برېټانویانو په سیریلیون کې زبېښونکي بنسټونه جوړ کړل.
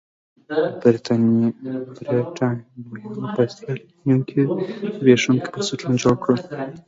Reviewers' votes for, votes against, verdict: 1, 2, rejected